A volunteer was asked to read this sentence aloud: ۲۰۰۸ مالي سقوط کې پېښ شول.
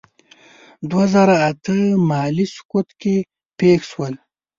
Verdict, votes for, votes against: rejected, 0, 2